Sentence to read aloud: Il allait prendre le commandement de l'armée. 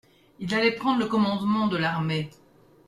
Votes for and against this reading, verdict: 2, 0, accepted